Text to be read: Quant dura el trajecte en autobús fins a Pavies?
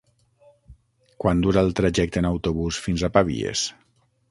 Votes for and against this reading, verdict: 0, 6, rejected